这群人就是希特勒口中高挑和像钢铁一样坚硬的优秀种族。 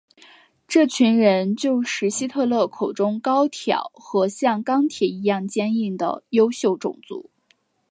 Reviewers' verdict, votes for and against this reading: accepted, 3, 0